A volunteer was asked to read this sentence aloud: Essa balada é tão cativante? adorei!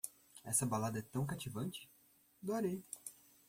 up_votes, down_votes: 1, 2